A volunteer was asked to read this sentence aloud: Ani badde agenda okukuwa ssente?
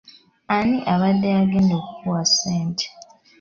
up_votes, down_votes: 2, 1